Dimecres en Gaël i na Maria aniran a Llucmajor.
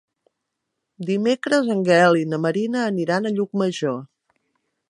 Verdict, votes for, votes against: rejected, 0, 2